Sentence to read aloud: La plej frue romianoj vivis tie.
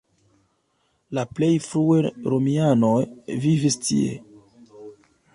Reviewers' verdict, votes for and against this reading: rejected, 1, 2